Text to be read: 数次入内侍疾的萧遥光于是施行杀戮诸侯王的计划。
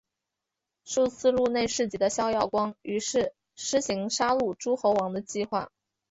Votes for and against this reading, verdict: 2, 1, accepted